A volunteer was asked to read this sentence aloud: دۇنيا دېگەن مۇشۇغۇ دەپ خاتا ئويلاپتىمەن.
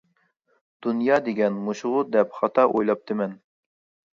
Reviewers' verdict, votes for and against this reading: accepted, 2, 0